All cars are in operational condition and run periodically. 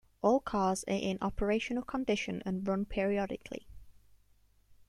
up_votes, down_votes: 1, 2